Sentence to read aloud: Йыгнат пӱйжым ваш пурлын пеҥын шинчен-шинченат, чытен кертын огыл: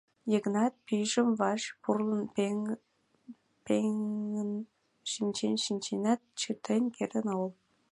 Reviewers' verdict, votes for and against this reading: rejected, 0, 2